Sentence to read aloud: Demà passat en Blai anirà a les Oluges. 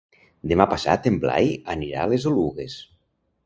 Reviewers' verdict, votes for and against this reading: rejected, 1, 2